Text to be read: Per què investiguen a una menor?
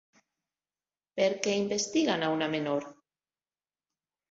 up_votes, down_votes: 3, 0